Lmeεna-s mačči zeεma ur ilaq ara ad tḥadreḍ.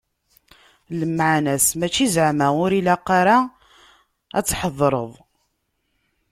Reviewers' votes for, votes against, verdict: 0, 2, rejected